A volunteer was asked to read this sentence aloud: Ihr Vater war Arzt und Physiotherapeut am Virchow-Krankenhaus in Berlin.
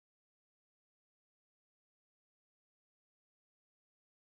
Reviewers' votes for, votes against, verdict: 0, 2, rejected